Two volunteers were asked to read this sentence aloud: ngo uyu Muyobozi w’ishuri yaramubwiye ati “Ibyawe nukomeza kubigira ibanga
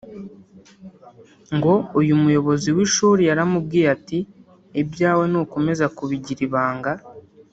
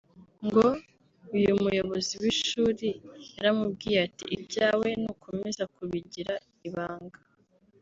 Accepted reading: second